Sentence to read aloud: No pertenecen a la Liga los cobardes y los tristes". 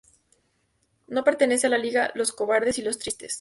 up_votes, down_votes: 0, 2